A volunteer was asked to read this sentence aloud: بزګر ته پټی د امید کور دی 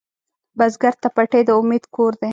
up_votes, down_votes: 2, 0